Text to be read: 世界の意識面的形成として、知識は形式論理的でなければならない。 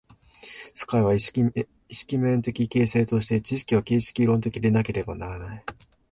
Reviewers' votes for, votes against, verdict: 1, 2, rejected